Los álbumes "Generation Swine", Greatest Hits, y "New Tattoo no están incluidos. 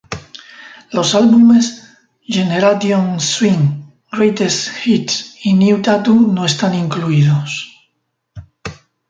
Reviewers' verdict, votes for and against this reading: rejected, 0, 2